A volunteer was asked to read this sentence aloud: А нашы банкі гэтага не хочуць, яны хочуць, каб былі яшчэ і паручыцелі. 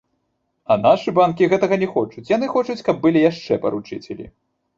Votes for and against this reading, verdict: 0, 3, rejected